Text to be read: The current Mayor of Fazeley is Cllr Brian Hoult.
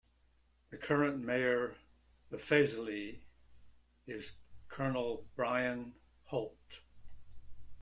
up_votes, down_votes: 0, 2